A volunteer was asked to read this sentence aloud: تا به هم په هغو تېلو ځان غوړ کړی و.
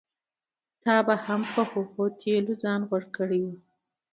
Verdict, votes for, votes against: rejected, 0, 2